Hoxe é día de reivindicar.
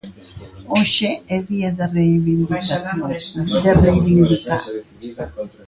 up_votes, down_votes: 0, 2